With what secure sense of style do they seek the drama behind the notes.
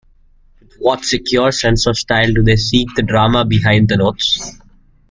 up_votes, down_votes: 2, 0